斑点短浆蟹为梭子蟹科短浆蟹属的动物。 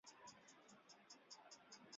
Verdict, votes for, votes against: rejected, 0, 2